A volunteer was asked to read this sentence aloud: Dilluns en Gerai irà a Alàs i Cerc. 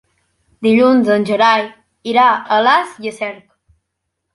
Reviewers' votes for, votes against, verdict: 0, 2, rejected